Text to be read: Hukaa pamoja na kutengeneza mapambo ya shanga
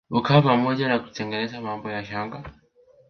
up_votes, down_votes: 0, 2